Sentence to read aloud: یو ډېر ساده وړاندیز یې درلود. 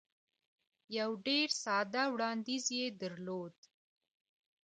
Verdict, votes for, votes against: accepted, 2, 0